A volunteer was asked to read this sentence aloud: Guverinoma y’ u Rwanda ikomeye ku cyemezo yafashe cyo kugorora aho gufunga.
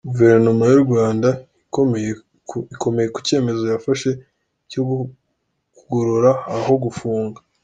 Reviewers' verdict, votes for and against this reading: accepted, 2, 0